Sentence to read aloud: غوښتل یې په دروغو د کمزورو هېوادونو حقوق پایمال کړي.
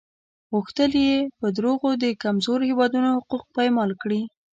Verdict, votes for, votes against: accepted, 2, 1